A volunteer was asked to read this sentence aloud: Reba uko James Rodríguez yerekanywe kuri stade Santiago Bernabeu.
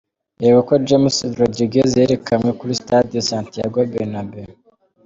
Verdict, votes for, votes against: rejected, 1, 2